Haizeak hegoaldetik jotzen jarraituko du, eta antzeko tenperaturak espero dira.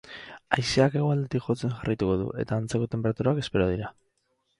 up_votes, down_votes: 4, 2